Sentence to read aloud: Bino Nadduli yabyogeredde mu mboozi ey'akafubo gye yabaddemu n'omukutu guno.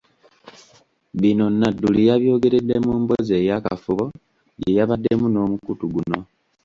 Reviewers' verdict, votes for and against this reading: rejected, 1, 2